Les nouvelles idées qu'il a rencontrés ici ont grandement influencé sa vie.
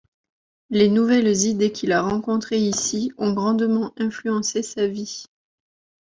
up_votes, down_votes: 2, 0